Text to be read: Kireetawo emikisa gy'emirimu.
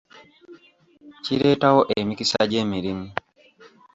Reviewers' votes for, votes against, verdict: 1, 2, rejected